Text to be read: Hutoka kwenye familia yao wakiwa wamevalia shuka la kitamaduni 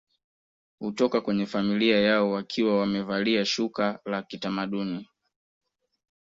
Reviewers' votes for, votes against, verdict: 2, 1, accepted